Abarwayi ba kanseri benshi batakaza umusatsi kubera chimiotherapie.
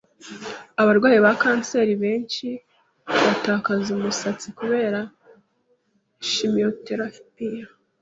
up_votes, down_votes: 2, 0